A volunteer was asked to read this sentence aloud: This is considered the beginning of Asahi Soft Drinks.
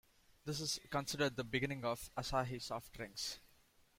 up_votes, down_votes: 2, 0